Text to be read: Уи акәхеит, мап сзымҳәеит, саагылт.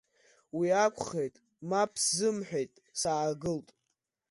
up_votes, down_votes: 2, 0